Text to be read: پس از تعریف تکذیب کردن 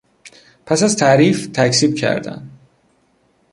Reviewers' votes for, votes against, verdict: 2, 0, accepted